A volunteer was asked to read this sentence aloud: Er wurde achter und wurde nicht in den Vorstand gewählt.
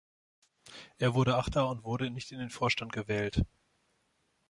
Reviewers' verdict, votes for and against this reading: accepted, 2, 0